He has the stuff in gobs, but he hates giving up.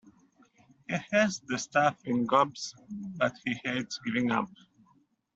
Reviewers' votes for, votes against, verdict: 2, 0, accepted